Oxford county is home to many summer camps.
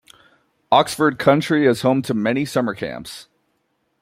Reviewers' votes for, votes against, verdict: 2, 1, accepted